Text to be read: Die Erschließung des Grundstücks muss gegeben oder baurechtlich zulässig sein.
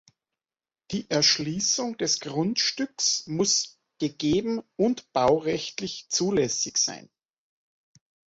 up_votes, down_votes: 1, 2